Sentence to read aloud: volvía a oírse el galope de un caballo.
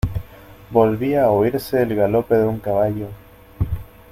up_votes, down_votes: 2, 0